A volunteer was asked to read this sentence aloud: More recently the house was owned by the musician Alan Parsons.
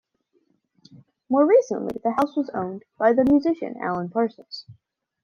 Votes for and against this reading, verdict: 2, 0, accepted